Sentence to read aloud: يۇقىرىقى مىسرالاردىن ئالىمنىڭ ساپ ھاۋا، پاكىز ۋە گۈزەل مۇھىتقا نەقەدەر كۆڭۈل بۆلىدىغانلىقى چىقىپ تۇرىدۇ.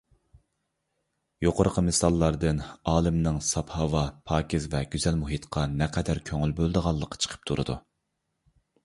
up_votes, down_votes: 0, 2